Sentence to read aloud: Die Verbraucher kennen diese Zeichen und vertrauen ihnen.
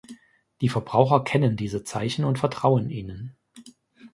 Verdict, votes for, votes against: accepted, 2, 0